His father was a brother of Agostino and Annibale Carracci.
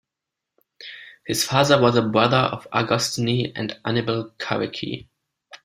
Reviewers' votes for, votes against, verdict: 0, 2, rejected